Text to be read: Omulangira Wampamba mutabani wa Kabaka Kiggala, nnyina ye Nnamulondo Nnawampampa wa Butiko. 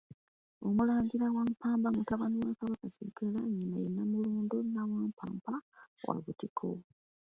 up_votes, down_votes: 2, 1